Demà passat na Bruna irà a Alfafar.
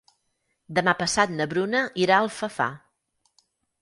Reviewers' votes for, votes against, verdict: 4, 0, accepted